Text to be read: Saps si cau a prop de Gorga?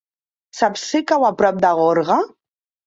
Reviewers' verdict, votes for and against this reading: accepted, 2, 0